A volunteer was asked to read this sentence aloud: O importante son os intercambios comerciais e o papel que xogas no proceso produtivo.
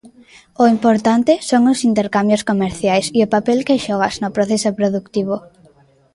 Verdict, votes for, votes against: accepted, 2, 0